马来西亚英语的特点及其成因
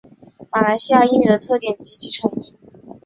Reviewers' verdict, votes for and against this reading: accepted, 2, 0